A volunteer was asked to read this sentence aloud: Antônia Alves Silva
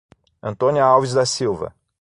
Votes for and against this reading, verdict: 3, 6, rejected